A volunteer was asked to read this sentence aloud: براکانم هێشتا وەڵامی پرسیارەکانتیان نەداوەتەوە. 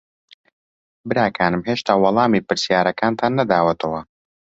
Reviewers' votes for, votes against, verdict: 1, 2, rejected